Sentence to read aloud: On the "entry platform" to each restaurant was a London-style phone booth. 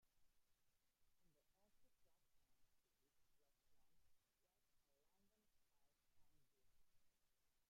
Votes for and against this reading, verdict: 0, 2, rejected